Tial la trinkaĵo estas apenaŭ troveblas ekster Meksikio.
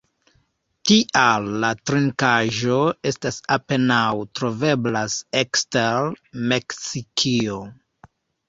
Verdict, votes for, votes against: rejected, 0, 3